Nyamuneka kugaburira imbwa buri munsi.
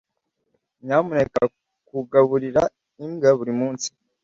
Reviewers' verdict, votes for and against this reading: accepted, 2, 0